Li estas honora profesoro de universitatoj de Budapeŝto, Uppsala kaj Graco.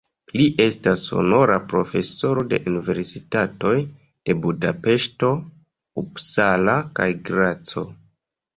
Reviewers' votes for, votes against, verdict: 2, 1, accepted